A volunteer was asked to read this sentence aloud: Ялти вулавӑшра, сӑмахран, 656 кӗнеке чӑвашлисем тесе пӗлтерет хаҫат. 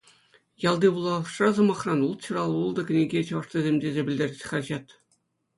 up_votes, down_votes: 0, 2